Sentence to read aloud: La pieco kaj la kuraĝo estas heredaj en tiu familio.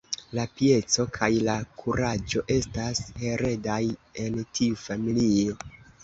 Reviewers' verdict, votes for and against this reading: rejected, 1, 2